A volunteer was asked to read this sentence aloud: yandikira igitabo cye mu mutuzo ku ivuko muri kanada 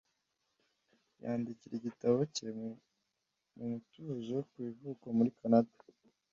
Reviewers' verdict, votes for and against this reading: accepted, 2, 1